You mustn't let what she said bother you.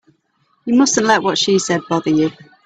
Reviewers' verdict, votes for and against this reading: accepted, 3, 0